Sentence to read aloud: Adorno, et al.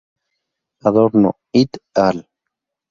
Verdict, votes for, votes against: rejected, 0, 2